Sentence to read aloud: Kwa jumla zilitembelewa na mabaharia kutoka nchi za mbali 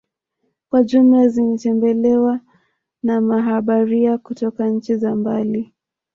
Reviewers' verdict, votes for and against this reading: rejected, 1, 2